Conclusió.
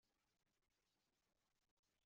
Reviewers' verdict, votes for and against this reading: rejected, 0, 2